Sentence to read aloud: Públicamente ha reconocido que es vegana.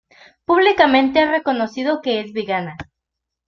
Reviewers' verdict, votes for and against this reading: rejected, 1, 2